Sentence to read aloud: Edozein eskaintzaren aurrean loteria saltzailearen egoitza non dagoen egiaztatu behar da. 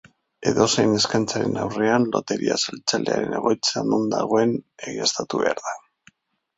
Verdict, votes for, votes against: accepted, 2, 0